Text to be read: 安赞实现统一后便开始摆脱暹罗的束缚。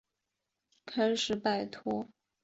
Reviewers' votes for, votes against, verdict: 0, 3, rejected